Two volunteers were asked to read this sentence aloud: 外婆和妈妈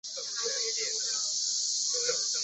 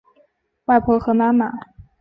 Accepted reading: second